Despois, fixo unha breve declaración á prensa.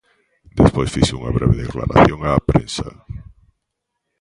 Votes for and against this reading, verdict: 2, 1, accepted